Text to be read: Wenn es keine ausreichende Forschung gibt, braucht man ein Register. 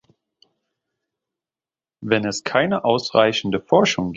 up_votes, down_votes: 0, 2